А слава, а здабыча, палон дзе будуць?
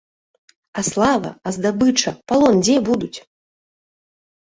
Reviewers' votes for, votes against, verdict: 2, 0, accepted